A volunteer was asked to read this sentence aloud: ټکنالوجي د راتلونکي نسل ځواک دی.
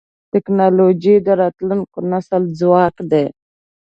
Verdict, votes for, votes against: accepted, 3, 0